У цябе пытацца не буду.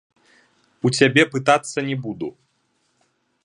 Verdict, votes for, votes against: rejected, 0, 2